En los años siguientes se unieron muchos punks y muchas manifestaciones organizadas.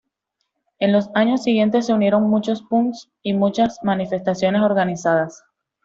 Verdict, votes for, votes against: accepted, 2, 0